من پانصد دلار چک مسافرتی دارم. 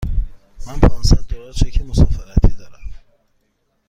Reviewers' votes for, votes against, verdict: 2, 0, accepted